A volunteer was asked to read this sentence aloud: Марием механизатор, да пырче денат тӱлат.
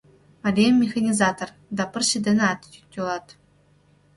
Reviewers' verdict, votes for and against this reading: rejected, 1, 2